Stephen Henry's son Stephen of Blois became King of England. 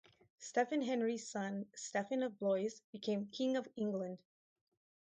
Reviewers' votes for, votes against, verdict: 2, 0, accepted